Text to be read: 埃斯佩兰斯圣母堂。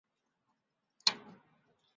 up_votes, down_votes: 1, 3